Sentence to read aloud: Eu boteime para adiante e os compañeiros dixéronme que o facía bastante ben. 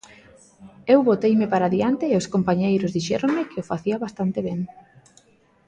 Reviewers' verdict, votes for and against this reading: accepted, 2, 0